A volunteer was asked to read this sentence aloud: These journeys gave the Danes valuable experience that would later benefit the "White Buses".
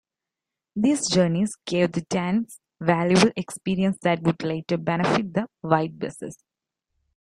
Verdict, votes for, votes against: accepted, 2, 0